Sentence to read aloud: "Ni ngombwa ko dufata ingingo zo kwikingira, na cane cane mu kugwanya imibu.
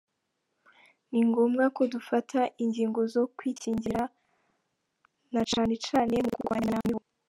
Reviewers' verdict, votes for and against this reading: rejected, 1, 2